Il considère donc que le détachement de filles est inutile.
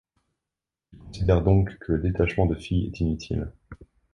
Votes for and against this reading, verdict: 1, 2, rejected